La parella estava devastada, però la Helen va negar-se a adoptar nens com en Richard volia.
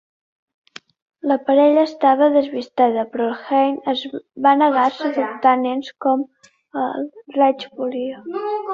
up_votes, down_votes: 0, 2